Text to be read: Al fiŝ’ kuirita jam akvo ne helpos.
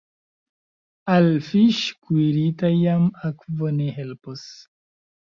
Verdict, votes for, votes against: rejected, 0, 2